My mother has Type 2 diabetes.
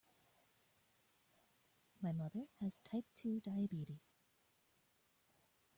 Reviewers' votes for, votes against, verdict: 0, 2, rejected